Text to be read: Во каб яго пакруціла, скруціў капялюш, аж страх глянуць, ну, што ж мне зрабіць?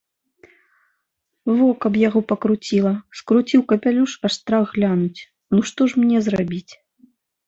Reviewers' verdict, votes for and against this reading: accepted, 2, 0